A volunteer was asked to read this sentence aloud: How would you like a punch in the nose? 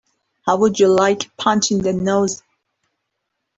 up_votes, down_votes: 2, 3